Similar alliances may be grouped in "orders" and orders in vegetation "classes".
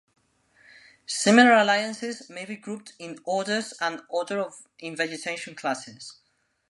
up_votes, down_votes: 0, 2